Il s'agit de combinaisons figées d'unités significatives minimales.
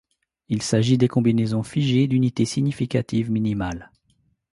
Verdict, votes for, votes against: rejected, 1, 2